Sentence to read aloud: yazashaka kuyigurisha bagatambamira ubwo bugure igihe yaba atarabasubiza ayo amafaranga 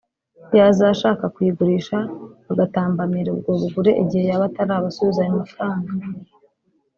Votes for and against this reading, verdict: 3, 0, accepted